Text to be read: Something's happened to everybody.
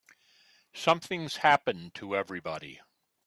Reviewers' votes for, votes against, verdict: 2, 0, accepted